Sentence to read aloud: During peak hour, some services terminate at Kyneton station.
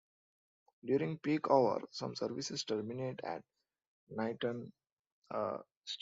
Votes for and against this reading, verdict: 0, 2, rejected